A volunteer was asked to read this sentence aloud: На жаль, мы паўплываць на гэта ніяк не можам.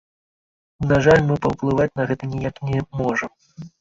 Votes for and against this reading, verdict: 2, 4, rejected